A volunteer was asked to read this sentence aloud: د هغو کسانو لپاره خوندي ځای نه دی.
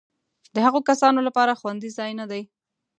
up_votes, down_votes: 2, 0